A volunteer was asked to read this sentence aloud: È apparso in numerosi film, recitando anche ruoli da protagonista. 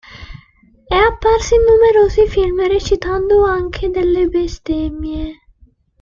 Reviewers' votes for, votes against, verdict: 0, 2, rejected